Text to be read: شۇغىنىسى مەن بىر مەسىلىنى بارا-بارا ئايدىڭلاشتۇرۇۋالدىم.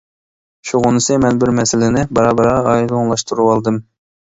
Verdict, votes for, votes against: accepted, 2, 0